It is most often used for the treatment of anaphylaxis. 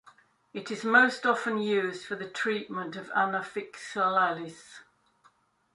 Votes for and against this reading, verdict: 0, 2, rejected